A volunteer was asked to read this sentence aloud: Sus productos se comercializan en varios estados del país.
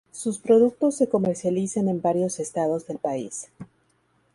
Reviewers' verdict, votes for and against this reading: accepted, 2, 0